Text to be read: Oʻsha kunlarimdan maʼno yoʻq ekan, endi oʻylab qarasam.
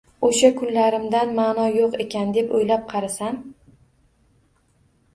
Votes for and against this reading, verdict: 1, 2, rejected